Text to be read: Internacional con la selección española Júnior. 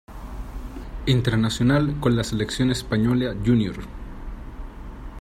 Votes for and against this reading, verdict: 2, 0, accepted